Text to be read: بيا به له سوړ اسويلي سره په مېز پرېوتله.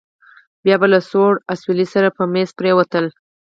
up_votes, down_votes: 4, 0